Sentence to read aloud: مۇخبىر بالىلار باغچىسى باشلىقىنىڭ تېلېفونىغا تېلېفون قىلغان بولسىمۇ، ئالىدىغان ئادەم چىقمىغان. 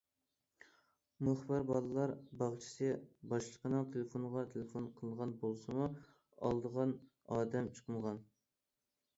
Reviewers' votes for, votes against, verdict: 2, 0, accepted